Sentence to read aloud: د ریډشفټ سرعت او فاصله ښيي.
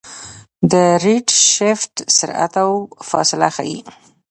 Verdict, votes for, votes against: accepted, 2, 0